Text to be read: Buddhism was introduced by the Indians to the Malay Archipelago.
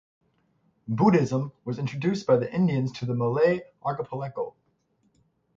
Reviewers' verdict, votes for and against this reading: accepted, 6, 0